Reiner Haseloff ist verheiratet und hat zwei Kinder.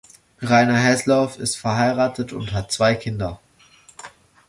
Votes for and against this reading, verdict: 1, 2, rejected